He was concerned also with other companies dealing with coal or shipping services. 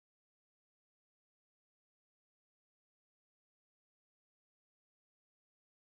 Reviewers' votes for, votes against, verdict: 0, 2, rejected